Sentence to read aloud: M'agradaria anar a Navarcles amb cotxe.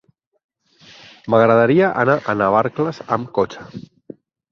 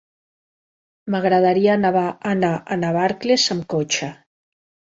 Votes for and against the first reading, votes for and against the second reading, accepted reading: 6, 0, 1, 2, first